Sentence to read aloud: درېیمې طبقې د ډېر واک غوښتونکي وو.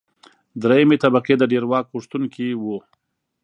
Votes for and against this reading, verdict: 2, 0, accepted